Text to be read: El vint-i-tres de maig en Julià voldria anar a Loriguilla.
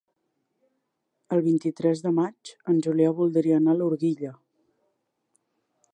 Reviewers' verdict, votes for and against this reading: rejected, 0, 2